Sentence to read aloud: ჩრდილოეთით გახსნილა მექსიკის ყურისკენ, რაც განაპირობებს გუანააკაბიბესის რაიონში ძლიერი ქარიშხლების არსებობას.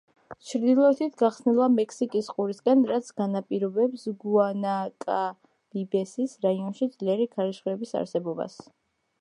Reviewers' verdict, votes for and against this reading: accepted, 2, 0